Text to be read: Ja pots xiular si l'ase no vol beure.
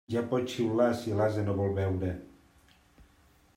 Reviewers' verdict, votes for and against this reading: accepted, 2, 0